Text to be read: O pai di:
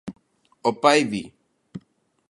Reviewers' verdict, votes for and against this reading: accepted, 2, 0